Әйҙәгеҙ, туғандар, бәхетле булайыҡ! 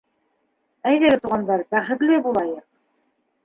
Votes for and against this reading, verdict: 2, 1, accepted